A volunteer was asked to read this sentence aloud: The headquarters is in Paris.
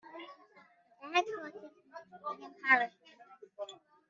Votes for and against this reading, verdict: 0, 6, rejected